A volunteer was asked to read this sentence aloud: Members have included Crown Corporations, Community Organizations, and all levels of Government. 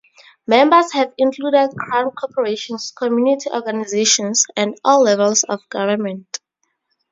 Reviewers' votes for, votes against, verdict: 0, 2, rejected